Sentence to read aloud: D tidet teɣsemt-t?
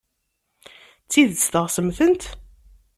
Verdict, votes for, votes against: rejected, 1, 2